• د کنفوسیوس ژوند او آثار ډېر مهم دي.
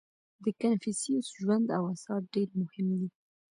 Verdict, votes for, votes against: accepted, 2, 0